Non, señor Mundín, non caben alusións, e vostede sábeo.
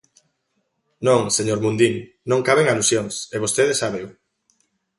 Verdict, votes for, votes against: accepted, 2, 0